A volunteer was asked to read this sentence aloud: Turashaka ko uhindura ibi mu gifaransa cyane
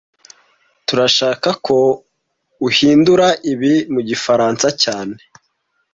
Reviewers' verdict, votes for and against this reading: accepted, 2, 0